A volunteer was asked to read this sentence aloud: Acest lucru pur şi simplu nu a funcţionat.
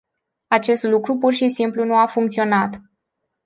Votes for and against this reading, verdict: 2, 0, accepted